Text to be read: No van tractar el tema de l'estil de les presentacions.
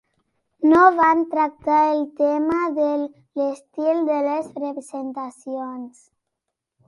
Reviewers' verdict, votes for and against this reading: accepted, 2, 0